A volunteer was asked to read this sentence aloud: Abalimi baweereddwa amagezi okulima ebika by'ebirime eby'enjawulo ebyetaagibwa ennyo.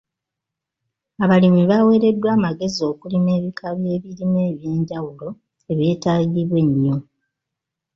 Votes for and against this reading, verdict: 3, 0, accepted